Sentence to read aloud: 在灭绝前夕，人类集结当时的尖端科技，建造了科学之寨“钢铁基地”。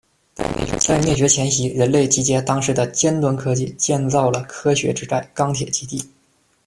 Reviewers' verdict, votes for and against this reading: accepted, 2, 1